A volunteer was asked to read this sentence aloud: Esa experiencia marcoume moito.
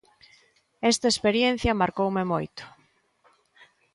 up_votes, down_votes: 1, 2